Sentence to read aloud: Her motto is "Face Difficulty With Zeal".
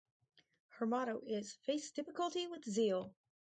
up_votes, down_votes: 2, 0